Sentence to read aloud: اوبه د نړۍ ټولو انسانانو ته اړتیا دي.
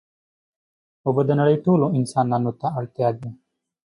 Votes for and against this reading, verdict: 2, 1, accepted